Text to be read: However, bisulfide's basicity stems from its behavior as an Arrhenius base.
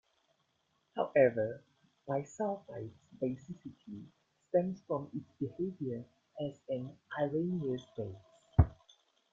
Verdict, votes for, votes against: accepted, 2, 1